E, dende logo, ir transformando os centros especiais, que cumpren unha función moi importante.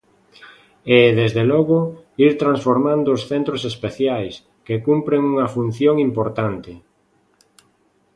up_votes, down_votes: 0, 2